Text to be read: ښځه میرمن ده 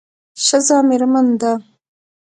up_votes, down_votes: 2, 0